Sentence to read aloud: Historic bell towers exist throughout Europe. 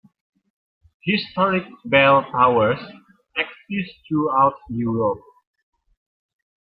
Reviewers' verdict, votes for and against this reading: accepted, 2, 0